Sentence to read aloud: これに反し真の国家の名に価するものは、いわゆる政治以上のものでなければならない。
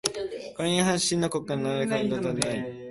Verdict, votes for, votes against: rejected, 0, 2